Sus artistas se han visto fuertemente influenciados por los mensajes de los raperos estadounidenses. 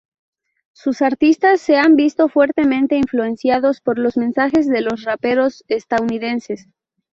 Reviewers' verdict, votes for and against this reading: accepted, 2, 0